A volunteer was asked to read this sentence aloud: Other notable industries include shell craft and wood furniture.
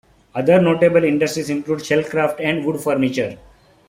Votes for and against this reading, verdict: 3, 1, accepted